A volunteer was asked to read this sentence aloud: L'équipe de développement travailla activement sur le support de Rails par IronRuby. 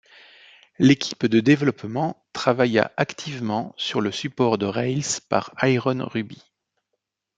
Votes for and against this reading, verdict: 2, 0, accepted